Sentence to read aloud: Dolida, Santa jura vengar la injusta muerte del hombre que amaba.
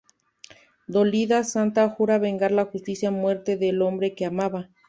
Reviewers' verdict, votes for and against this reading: accepted, 2, 1